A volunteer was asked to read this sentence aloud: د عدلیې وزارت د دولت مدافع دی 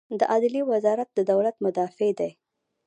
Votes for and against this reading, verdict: 1, 2, rejected